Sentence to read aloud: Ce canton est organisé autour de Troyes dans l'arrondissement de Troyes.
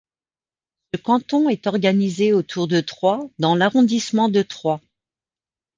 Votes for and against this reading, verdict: 0, 2, rejected